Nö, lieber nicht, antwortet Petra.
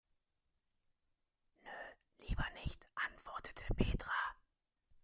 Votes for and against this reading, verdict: 1, 2, rejected